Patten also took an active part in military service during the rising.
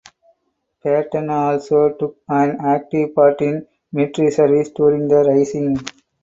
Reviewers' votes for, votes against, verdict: 4, 0, accepted